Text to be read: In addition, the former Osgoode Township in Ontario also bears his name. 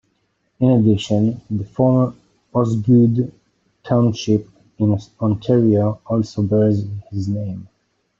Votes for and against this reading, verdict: 1, 2, rejected